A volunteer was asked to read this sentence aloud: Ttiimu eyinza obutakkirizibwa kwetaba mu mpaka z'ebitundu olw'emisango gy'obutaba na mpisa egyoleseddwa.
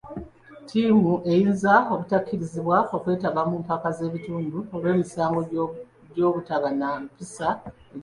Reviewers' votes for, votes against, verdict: 0, 2, rejected